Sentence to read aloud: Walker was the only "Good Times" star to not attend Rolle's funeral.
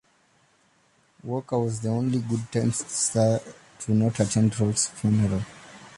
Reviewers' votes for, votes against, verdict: 1, 2, rejected